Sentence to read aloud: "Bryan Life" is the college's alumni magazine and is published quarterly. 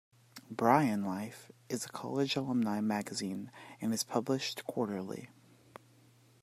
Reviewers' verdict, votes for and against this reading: accepted, 2, 1